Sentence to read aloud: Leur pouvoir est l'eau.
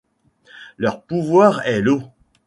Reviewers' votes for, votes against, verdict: 2, 0, accepted